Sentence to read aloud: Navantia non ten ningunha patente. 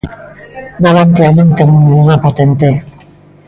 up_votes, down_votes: 1, 2